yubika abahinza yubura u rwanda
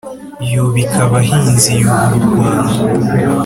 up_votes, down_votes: 2, 0